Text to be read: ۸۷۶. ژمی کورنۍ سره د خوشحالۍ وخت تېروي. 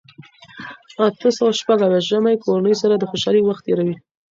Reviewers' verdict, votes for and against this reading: rejected, 0, 2